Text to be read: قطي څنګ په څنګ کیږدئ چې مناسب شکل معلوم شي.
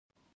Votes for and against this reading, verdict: 1, 2, rejected